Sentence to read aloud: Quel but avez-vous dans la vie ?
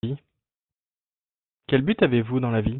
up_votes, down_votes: 2, 1